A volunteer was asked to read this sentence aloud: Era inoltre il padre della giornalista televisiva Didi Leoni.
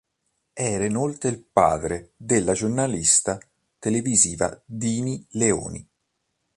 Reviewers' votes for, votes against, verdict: 1, 2, rejected